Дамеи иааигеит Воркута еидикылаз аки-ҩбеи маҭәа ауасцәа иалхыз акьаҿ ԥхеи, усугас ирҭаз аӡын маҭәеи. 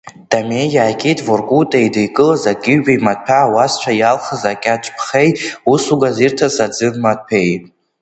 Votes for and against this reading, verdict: 2, 0, accepted